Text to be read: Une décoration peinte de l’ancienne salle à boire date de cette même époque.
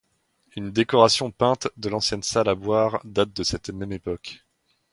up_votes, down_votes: 2, 0